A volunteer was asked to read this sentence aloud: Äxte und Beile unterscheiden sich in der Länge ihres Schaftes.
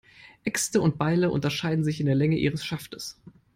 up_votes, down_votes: 3, 0